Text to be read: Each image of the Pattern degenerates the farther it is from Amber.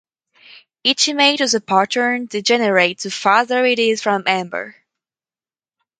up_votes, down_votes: 2, 2